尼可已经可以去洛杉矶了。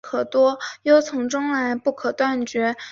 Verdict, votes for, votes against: rejected, 0, 2